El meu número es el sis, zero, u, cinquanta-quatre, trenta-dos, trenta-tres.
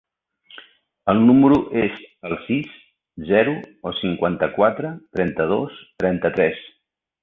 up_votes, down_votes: 0, 2